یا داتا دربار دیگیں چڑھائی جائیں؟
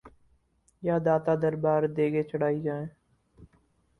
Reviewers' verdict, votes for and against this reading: accepted, 4, 0